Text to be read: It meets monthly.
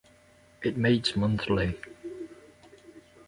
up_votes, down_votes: 2, 0